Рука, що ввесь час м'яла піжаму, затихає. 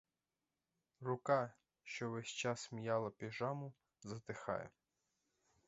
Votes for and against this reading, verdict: 4, 0, accepted